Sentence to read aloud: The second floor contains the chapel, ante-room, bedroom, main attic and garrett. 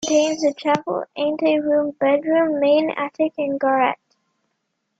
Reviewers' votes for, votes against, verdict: 0, 2, rejected